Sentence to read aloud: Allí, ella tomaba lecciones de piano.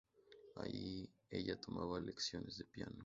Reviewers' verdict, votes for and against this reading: accepted, 2, 0